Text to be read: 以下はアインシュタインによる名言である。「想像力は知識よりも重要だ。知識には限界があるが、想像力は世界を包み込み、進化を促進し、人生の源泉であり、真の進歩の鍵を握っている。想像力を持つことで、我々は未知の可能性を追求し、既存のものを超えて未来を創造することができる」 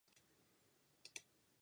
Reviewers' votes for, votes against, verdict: 0, 3, rejected